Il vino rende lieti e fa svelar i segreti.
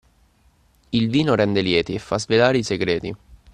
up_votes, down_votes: 2, 0